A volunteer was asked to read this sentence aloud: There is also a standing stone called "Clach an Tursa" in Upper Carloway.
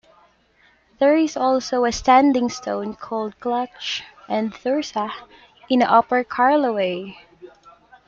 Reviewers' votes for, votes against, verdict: 5, 2, accepted